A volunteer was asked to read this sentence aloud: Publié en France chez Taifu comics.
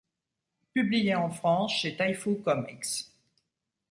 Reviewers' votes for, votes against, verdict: 2, 0, accepted